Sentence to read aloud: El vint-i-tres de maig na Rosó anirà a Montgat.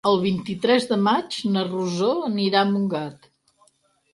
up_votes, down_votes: 6, 0